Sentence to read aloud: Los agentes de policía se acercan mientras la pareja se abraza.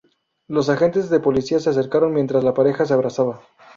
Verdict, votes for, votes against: rejected, 0, 2